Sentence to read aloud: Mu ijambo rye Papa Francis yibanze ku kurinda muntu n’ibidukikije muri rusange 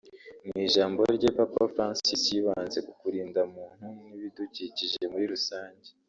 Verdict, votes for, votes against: rejected, 1, 2